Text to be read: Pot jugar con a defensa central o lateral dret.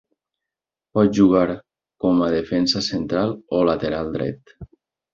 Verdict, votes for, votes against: accepted, 2, 0